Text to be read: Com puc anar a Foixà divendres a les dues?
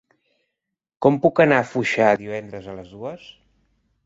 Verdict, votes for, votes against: accepted, 2, 0